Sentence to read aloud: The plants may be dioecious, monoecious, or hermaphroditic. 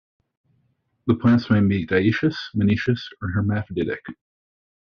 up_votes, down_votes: 2, 0